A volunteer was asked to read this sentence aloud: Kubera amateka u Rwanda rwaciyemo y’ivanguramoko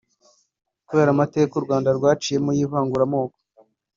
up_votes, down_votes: 1, 2